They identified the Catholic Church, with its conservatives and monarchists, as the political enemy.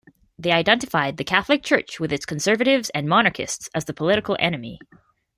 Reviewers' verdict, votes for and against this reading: accepted, 2, 0